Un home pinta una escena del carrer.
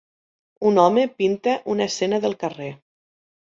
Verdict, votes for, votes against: accepted, 3, 1